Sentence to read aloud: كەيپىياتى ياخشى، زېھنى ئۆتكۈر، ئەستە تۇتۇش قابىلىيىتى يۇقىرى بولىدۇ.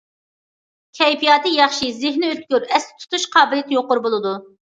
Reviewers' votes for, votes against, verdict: 2, 0, accepted